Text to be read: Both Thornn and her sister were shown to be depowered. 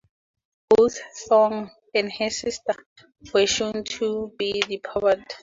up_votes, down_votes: 2, 2